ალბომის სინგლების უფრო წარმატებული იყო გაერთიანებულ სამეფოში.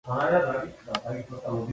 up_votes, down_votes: 0, 2